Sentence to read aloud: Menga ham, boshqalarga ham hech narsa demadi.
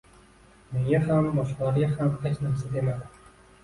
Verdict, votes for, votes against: accepted, 2, 0